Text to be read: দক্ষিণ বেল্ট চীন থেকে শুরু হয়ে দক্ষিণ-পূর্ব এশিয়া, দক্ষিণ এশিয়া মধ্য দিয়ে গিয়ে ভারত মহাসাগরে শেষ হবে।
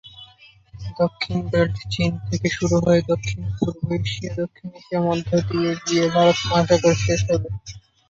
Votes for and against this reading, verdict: 3, 3, rejected